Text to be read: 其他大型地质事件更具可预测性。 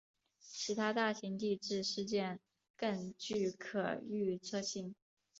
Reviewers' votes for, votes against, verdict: 3, 0, accepted